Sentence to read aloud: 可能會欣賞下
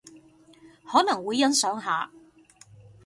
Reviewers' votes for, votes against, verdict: 2, 0, accepted